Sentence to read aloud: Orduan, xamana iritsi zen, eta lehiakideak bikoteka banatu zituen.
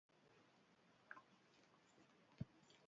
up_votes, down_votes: 0, 2